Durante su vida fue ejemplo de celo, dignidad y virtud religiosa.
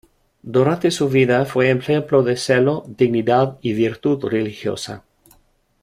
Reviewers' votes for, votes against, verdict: 2, 0, accepted